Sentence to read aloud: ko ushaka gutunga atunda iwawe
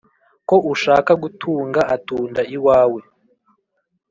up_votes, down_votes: 2, 0